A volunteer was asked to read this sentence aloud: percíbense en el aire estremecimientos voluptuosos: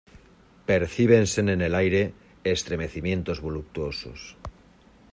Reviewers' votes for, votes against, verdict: 2, 1, accepted